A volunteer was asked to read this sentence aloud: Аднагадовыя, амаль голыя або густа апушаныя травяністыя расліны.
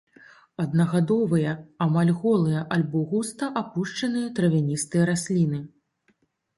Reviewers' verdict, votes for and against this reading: rejected, 1, 2